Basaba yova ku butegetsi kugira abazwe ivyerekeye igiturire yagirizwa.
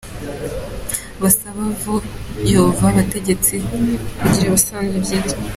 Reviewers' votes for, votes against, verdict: 0, 2, rejected